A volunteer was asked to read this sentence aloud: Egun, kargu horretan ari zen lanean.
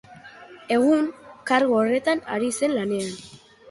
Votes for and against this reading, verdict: 1, 2, rejected